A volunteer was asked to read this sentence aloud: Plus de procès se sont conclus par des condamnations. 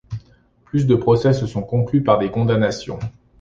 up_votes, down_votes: 2, 0